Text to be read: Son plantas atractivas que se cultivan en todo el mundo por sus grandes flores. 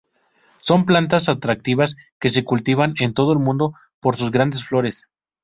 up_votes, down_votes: 2, 0